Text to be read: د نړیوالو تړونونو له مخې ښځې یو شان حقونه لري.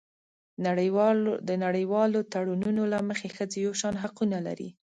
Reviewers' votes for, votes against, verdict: 1, 2, rejected